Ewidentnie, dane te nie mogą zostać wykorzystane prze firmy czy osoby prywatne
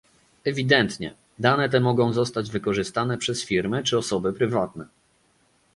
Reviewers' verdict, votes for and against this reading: rejected, 0, 2